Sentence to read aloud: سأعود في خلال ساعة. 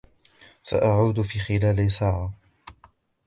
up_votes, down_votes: 2, 0